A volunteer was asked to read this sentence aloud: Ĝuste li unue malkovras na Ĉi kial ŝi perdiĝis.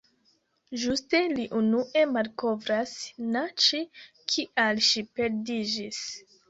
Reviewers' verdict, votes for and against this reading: rejected, 1, 2